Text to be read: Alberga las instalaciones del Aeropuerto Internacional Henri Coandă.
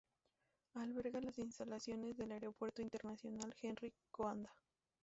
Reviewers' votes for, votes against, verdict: 2, 0, accepted